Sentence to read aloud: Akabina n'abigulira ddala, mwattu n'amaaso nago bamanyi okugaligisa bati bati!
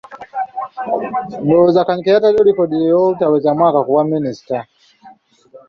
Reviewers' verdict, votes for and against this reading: rejected, 0, 3